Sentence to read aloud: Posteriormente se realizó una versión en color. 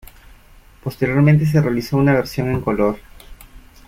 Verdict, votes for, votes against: accepted, 2, 0